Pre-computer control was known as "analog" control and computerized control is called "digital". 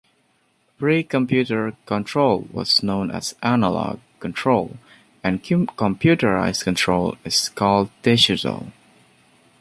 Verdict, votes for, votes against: rejected, 1, 2